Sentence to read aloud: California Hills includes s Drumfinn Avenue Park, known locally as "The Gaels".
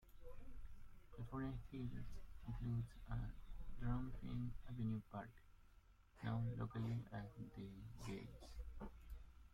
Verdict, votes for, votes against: rejected, 0, 2